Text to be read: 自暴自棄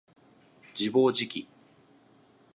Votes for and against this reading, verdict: 2, 0, accepted